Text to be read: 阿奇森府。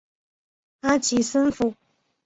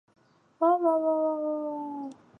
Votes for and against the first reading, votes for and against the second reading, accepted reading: 2, 0, 0, 3, first